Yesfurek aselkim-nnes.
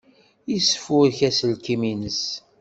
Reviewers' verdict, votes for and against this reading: accepted, 2, 0